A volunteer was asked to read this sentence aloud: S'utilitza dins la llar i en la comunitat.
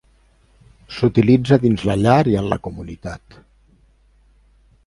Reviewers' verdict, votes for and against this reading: accepted, 2, 0